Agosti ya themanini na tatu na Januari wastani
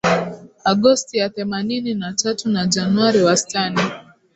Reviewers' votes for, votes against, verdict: 3, 1, accepted